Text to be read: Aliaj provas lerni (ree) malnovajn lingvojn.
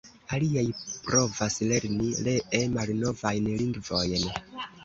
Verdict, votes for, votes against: rejected, 0, 2